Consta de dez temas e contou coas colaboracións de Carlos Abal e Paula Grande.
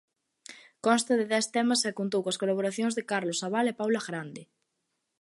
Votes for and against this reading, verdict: 2, 0, accepted